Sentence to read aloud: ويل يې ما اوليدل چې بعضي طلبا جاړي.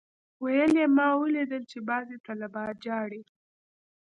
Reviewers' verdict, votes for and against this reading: accepted, 3, 0